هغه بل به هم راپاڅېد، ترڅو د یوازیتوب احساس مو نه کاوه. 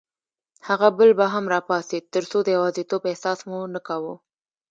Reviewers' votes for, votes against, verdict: 2, 1, accepted